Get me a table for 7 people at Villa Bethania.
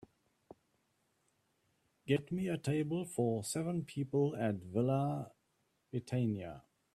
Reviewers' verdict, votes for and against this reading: rejected, 0, 2